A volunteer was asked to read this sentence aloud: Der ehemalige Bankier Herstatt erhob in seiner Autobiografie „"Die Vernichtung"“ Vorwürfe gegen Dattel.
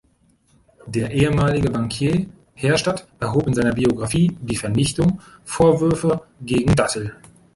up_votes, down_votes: 1, 2